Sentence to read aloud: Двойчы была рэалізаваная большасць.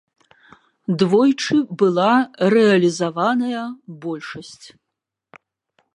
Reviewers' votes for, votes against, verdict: 2, 0, accepted